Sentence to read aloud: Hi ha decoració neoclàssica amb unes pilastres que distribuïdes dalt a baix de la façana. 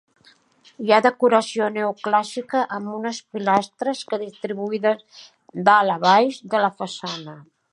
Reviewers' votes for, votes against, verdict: 2, 0, accepted